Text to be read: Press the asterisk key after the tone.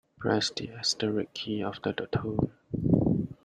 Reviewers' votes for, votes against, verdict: 0, 2, rejected